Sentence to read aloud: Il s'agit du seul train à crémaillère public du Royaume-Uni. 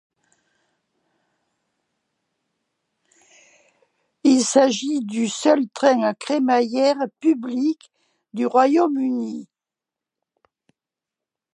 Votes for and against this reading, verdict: 2, 0, accepted